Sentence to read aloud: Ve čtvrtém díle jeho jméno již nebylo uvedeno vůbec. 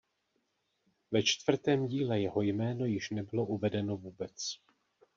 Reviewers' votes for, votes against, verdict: 2, 0, accepted